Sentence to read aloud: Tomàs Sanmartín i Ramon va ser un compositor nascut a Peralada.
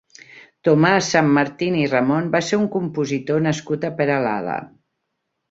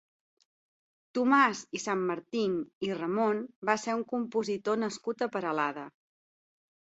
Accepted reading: first